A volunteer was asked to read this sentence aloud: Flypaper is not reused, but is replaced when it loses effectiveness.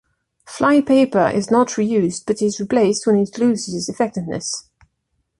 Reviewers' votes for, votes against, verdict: 2, 0, accepted